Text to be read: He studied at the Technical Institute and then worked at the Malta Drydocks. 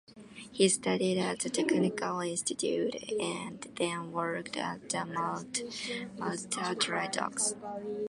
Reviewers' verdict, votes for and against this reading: rejected, 0, 2